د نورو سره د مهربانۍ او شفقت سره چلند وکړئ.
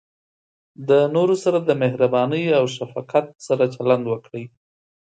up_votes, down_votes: 2, 0